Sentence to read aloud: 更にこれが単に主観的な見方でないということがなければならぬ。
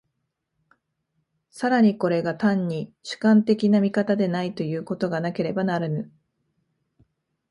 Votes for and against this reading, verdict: 2, 0, accepted